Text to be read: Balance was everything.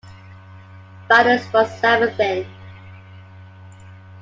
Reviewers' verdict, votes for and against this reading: rejected, 0, 2